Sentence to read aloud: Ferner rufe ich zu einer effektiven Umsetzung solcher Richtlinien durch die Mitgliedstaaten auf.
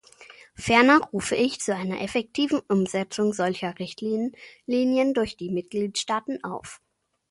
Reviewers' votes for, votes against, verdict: 0, 2, rejected